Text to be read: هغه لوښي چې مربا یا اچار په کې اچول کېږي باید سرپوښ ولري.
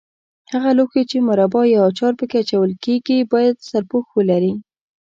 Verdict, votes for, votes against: accepted, 2, 0